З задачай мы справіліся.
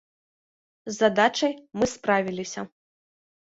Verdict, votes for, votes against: accepted, 2, 0